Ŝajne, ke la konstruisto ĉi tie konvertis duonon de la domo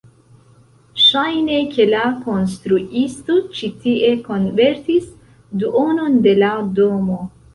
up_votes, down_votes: 2, 1